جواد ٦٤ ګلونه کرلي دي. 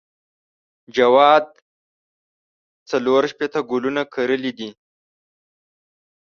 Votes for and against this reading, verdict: 0, 2, rejected